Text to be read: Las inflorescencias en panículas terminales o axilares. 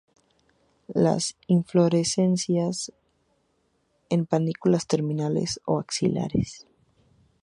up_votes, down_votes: 0, 2